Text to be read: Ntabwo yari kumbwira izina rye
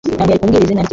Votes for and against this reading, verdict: 0, 2, rejected